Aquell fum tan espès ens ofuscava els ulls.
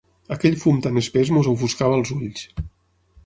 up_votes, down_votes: 3, 6